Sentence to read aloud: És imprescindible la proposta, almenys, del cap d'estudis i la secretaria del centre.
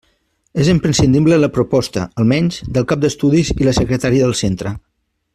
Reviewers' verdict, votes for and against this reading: accepted, 3, 1